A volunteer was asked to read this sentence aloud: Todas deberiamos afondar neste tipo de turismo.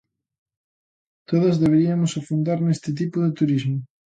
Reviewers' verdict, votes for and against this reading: rejected, 0, 2